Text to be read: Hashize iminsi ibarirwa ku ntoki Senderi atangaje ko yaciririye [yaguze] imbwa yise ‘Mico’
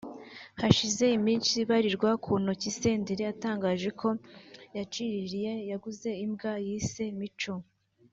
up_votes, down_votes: 2, 0